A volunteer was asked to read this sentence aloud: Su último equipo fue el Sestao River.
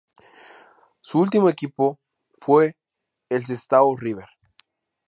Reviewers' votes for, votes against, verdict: 2, 0, accepted